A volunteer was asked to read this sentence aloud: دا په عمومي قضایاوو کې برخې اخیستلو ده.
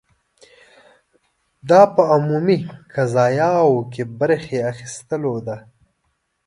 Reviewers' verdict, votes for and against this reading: accepted, 2, 0